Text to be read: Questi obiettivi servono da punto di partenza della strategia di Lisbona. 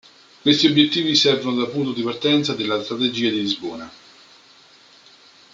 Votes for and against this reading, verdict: 1, 2, rejected